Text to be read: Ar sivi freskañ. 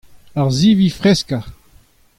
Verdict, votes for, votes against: accepted, 2, 0